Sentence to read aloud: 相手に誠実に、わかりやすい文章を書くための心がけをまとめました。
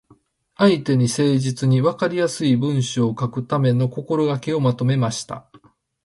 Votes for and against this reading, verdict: 0, 2, rejected